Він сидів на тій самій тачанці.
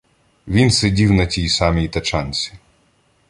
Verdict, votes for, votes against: accepted, 2, 0